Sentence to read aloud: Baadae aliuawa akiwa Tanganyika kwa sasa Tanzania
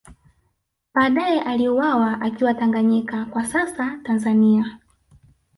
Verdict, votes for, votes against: rejected, 1, 2